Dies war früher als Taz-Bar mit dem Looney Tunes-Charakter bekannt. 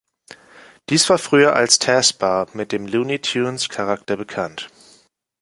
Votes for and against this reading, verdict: 2, 0, accepted